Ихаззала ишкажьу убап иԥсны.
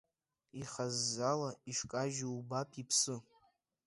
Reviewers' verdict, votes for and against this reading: rejected, 0, 2